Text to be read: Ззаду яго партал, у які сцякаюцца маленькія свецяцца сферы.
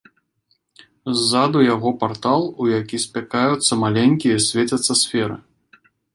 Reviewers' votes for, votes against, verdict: 0, 2, rejected